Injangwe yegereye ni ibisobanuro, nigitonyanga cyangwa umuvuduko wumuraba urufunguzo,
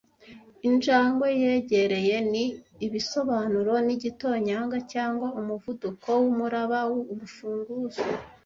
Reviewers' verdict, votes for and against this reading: rejected, 1, 2